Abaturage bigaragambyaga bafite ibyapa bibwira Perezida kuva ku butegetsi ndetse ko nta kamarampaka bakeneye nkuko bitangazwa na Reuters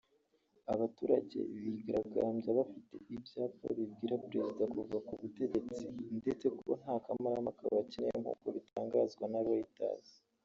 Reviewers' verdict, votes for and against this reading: rejected, 1, 2